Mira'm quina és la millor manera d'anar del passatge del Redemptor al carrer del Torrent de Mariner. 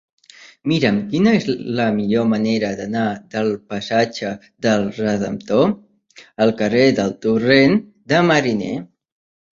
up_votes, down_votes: 1, 2